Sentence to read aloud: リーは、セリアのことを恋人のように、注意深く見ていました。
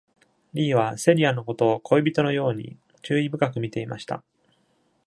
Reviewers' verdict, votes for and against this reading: accepted, 2, 0